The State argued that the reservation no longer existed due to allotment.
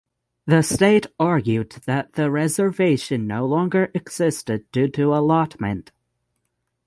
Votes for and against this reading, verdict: 3, 3, rejected